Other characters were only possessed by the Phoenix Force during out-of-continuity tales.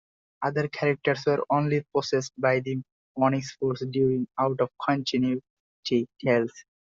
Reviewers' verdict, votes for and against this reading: rejected, 0, 2